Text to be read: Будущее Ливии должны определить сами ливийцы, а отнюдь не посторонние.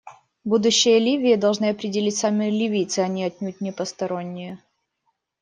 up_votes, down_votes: 1, 3